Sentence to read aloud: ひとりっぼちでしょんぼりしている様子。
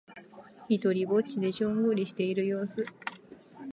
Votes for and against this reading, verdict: 2, 0, accepted